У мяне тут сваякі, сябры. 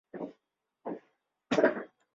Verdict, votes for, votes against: rejected, 0, 2